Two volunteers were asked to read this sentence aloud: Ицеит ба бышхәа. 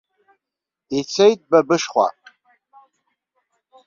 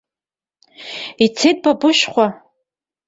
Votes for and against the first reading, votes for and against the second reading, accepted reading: 2, 0, 0, 2, first